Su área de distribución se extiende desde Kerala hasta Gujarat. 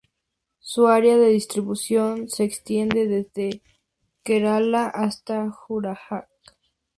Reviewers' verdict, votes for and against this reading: rejected, 0, 2